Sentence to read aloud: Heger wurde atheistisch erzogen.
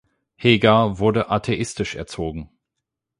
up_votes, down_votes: 8, 0